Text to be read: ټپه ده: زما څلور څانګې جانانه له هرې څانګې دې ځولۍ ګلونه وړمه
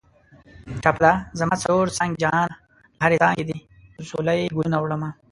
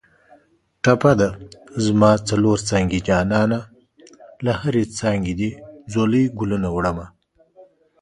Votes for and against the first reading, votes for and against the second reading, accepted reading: 1, 2, 2, 0, second